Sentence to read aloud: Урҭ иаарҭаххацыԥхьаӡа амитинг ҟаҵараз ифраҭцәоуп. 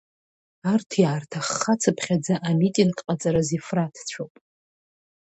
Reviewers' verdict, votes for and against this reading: rejected, 0, 2